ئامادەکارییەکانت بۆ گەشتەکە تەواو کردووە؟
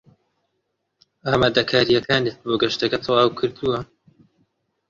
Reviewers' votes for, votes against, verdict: 0, 2, rejected